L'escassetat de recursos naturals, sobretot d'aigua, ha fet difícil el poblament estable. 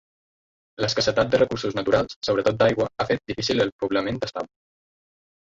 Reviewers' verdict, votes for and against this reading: rejected, 1, 2